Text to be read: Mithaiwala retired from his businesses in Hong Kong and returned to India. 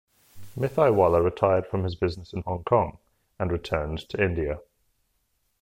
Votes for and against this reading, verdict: 2, 0, accepted